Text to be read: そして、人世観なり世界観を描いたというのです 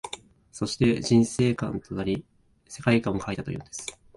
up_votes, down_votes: 1, 2